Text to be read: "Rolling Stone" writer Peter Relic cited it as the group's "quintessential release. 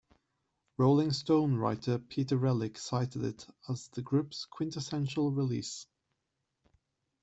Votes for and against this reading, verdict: 2, 0, accepted